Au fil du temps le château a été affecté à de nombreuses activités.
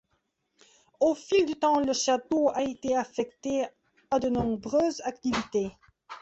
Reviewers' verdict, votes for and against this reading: accepted, 3, 0